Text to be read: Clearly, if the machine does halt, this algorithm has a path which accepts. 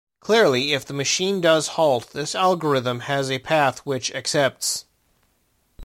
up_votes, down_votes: 2, 0